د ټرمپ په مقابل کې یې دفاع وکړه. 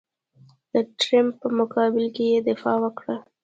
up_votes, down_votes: 0, 2